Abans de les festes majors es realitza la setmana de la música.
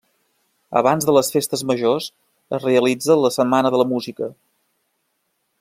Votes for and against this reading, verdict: 3, 0, accepted